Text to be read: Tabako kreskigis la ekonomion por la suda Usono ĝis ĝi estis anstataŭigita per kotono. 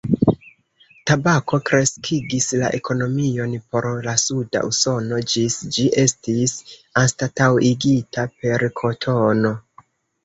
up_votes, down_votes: 1, 2